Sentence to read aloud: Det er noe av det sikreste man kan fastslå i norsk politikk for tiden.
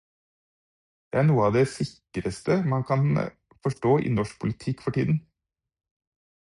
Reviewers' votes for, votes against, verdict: 0, 4, rejected